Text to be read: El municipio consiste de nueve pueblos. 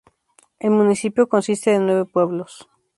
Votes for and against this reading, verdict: 2, 0, accepted